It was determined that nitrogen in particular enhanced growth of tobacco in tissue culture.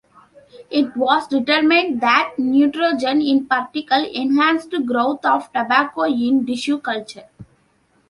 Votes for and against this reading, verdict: 0, 3, rejected